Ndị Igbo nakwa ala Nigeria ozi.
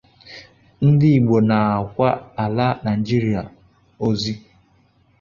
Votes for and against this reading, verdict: 0, 2, rejected